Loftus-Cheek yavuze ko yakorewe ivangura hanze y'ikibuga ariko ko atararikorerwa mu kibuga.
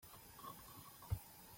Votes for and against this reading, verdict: 0, 2, rejected